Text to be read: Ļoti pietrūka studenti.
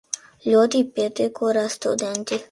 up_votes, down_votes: 0, 2